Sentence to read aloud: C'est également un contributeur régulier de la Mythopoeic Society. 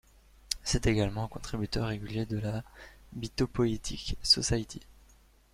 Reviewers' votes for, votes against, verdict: 2, 0, accepted